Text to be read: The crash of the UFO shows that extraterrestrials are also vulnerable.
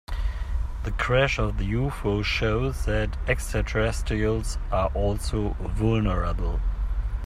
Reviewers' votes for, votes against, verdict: 2, 0, accepted